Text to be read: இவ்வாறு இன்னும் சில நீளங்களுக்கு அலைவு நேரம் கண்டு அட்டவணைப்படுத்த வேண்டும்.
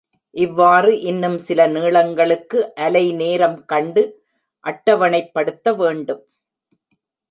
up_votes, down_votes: 1, 2